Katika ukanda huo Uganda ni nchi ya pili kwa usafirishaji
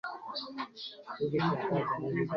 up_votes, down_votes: 0, 3